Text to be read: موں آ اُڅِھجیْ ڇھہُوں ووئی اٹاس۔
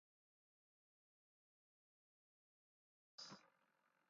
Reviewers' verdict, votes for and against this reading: rejected, 0, 2